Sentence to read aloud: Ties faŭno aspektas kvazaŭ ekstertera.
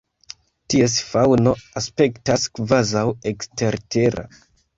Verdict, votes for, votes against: rejected, 1, 2